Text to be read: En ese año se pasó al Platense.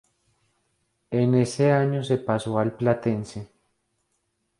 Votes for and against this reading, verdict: 2, 0, accepted